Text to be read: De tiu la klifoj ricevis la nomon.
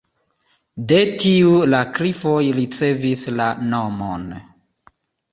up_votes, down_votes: 2, 0